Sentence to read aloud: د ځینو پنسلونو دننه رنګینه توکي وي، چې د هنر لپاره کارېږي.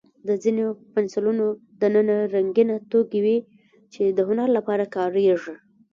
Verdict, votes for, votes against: rejected, 1, 2